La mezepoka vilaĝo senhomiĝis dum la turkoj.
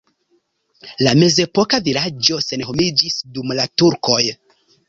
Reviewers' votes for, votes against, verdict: 2, 0, accepted